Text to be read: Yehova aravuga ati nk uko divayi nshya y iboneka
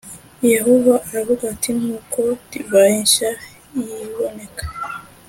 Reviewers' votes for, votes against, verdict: 2, 0, accepted